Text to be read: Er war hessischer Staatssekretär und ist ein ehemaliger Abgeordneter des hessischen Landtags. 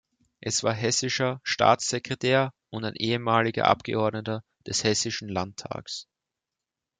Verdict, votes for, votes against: rejected, 0, 2